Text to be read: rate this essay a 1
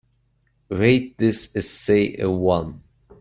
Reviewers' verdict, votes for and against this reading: rejected, 0, 2